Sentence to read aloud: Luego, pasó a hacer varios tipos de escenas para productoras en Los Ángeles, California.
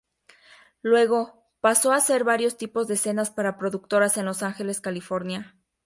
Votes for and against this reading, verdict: 2, 0, accepted